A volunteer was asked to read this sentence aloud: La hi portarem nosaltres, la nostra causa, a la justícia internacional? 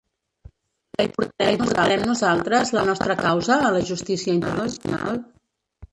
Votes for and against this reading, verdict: 0, 2, rejected